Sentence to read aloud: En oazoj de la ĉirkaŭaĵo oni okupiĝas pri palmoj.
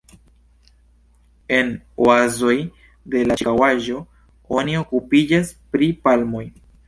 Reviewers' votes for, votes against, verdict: 1, 2, rejected